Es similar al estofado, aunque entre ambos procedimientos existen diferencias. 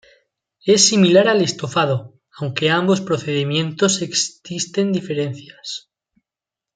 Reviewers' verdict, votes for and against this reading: rejected, 1, 2